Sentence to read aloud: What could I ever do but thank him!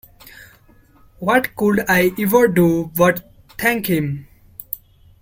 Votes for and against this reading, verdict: 2, 3, rejected